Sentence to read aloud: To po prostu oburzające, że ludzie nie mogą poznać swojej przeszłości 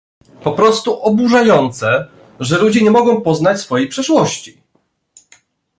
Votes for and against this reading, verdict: 0, 2, rejected